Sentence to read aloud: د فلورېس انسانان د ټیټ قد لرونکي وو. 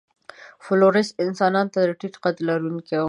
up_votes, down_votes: 1, 2